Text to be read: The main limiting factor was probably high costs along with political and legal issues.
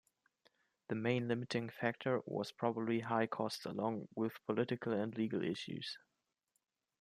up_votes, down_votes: 2, 0